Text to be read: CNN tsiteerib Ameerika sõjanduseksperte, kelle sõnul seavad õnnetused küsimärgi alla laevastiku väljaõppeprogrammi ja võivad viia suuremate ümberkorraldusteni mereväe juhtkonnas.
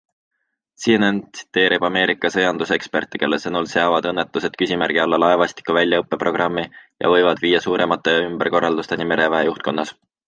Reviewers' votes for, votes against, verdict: 2, 0, accepted